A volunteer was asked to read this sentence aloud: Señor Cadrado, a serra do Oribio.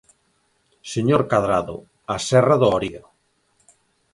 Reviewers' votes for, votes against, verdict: 0, 4, rejected